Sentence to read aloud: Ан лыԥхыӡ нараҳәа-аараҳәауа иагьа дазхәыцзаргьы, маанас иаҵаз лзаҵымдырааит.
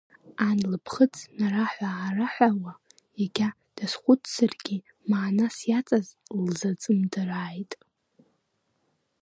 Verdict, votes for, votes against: rejected, 0, 2